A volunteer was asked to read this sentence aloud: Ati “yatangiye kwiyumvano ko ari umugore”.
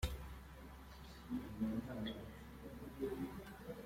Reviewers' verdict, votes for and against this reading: rejected, 0, 2